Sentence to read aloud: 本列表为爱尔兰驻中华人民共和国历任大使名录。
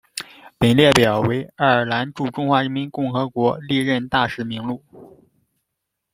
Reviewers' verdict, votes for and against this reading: accepted, 2, 0